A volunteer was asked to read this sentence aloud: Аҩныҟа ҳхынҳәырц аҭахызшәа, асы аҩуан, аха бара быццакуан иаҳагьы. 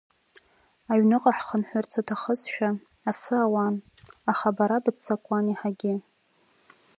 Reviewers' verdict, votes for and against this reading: rejected, 2, 5